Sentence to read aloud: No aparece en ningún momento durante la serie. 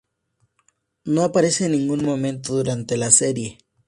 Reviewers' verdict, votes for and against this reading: accepted, 2, 0